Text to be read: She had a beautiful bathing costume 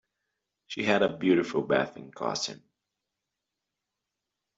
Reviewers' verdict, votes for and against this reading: rejected, 1, 2